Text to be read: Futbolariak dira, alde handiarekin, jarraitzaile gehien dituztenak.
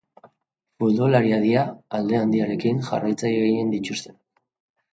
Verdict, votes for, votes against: accepted, 3, 2